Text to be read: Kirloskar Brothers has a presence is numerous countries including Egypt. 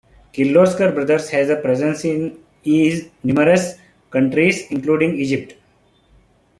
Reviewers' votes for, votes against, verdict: 0, 2, rejected